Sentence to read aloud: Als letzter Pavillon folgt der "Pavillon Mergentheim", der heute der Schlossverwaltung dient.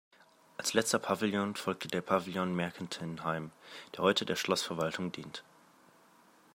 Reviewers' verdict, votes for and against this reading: rejected, 1, 2